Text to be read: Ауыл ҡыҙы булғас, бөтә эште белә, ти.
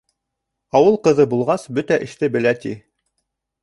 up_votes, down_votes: 3, 0